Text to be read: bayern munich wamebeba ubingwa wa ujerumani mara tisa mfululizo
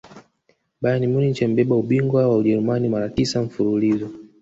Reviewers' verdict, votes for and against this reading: rejected, 0, 2